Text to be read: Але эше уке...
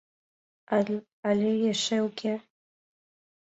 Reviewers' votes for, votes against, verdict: 2, 1, accepted